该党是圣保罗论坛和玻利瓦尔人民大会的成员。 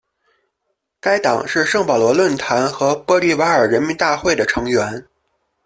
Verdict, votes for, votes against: rejected, 1, 2